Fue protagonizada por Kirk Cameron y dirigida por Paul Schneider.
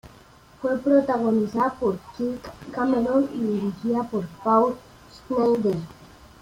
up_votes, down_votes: 1, 2